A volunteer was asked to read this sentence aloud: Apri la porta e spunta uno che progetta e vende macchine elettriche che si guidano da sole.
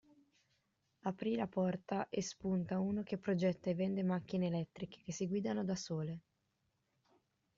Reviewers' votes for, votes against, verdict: 1, 2, rejected